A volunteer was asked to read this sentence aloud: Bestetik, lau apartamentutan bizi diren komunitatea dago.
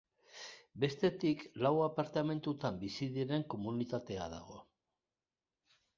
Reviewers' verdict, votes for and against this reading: accepted, 2, 0